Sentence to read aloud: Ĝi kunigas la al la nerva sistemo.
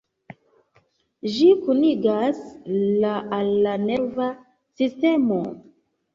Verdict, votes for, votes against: accepted, 2, 1